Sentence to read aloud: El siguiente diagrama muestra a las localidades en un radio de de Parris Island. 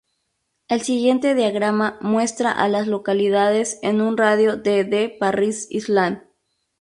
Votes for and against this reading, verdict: 0, 2, rejected